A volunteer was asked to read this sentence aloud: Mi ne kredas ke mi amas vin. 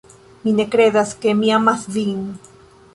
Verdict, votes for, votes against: rejected, 1, 2